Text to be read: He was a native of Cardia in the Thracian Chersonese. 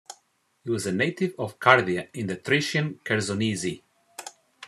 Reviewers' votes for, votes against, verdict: 2, 0, accepted